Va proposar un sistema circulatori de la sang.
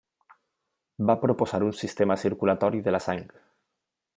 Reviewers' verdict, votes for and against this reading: rejected, 1, 2